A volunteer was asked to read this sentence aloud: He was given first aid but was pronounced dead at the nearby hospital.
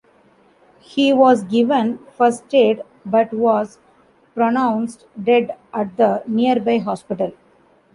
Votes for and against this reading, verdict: 0, 2, rejected